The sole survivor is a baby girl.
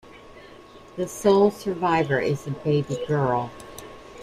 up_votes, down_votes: 2, 0